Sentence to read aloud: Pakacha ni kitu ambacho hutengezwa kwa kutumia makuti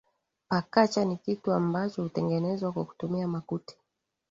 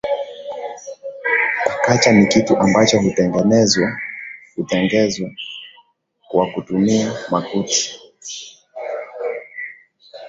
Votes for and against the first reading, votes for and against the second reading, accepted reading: 2, 0, 0, 2, first